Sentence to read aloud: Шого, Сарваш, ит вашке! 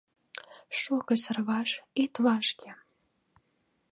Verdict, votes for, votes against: accepted, 2, 0